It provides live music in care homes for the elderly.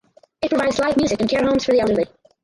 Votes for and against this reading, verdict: 0, 4, rejected